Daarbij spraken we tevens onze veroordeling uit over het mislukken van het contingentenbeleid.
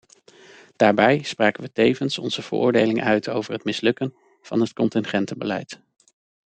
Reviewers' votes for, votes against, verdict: 2, 0, accepted